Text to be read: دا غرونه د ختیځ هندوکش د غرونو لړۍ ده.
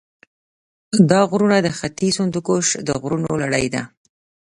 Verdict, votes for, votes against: accepted, 2, 0